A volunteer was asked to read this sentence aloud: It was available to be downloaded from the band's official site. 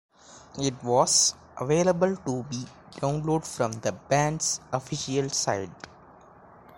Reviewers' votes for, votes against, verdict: 2, 1, accepted